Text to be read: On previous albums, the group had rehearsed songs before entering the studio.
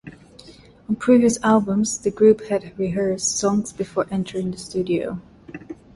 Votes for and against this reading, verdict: 1, 2, rejected